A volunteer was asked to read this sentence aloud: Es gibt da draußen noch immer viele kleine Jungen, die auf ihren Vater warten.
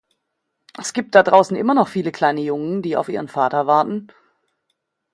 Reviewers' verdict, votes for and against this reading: rejected, 1, 2